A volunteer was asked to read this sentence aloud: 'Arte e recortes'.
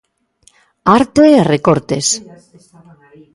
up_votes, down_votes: 1, 2